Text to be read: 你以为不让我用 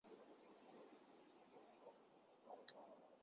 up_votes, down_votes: 0, 4